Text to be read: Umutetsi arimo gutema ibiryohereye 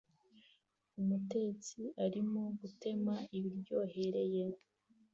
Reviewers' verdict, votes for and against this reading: accepted, 2, 0